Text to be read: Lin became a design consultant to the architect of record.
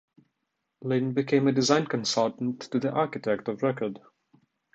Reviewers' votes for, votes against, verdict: 2, 0, accepted